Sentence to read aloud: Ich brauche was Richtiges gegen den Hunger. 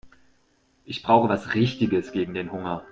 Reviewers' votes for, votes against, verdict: 2, 0, accepted